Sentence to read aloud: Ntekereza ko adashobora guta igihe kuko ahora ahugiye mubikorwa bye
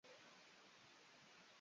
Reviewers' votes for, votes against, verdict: 0, 2, rejected